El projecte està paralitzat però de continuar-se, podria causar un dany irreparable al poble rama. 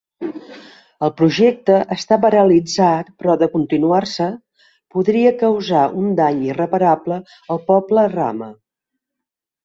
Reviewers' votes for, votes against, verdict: 2, 0, accepted